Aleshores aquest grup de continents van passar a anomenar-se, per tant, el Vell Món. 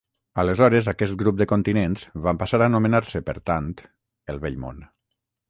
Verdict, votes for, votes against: accepted, 3, 0